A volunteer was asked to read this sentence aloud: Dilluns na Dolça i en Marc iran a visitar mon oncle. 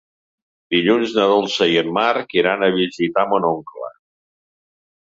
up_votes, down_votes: 3, 0